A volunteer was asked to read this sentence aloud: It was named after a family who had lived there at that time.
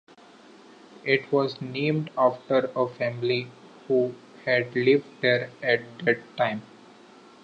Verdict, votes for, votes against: accepted, 2, 0